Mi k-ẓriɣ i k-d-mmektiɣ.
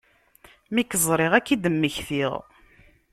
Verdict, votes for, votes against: rejected, 0, 2